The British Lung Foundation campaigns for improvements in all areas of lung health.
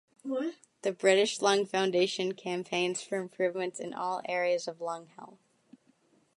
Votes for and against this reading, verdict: 2, 0, accepted